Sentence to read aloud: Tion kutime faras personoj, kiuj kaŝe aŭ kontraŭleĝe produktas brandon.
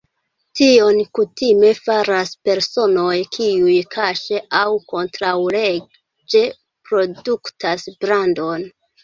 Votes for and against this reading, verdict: 2, 0, accepted